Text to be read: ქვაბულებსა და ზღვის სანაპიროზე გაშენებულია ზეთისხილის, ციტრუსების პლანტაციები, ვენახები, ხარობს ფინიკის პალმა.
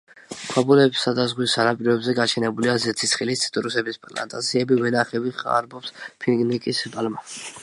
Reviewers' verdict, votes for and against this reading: rejected, 1, 2